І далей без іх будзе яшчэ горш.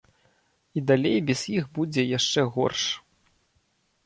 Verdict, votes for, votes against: rejected, 1, 2